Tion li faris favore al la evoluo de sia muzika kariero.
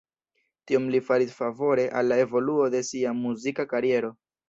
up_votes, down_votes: 1, 2